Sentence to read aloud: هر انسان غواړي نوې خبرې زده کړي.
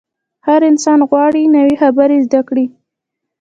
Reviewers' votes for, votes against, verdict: 0, 2, rejected